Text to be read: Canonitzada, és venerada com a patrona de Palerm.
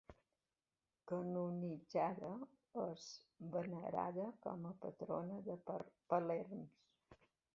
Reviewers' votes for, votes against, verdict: 1, 2, rejected